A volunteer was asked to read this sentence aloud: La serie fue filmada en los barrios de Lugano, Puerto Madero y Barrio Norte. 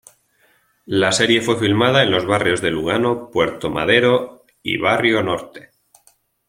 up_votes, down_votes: 2, 1